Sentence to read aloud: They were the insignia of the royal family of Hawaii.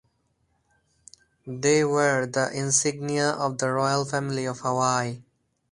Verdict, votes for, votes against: rejected, 0, 2